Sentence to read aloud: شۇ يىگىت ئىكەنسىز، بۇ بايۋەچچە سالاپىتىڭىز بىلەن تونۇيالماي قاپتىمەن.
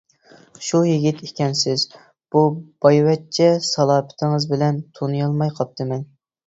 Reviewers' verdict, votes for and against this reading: accepted, 2, 0